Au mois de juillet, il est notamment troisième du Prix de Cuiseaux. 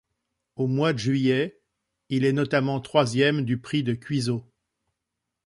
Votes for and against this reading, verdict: 2, 0, accepted